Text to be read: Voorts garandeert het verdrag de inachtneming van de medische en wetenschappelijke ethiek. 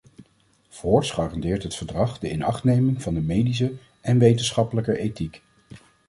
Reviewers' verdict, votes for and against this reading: accepted, 2, 0